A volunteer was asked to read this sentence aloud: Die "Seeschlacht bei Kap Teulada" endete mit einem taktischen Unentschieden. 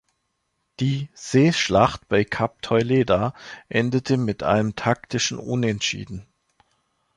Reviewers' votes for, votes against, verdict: 2, 3, rejected